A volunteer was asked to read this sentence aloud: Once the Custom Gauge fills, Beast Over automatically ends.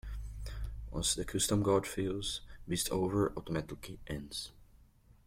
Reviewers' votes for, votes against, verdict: 1, 2, rejected